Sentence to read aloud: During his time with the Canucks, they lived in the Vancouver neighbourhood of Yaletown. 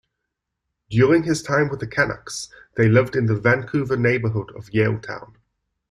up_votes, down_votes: 2, 0